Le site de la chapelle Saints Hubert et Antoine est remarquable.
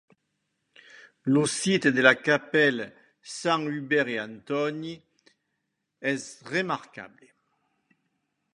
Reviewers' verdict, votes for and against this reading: rejected, 1, 2